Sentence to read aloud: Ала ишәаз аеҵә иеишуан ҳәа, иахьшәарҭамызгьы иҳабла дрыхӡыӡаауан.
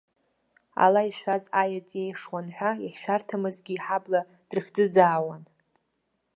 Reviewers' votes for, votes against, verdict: 2, 0, accepted